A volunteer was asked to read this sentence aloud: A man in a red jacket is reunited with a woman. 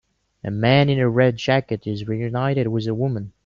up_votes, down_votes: 2, 0